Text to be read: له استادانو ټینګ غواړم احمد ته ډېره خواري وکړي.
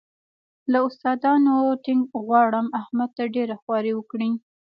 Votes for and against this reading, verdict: 3, 0, accepted